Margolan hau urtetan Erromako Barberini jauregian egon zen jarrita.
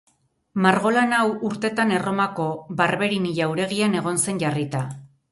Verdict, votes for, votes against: rejected, 2, 2